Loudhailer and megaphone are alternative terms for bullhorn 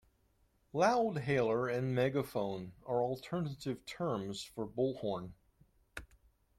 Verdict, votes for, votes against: accepted, 2, 0